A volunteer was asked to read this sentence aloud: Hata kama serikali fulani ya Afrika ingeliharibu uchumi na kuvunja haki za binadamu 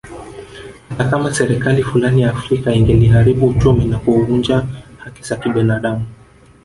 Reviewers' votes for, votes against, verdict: 1, 3, rejected